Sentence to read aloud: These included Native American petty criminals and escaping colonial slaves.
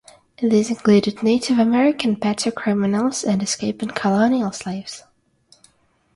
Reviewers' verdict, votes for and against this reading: rejected, 0, 3